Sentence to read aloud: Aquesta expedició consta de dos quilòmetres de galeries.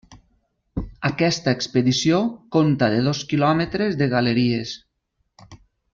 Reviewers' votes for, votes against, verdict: 0, 2, rejected